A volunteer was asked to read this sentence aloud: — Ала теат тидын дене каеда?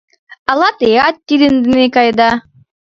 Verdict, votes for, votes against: rejected, 1, 2